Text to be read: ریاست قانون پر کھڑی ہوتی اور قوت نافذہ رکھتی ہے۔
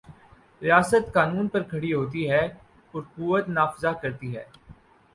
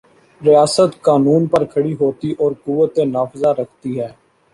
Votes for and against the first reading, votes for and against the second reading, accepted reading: 8, 10, 2, 0, second